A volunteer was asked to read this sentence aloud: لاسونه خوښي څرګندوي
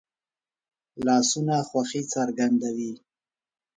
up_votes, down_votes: 2, 0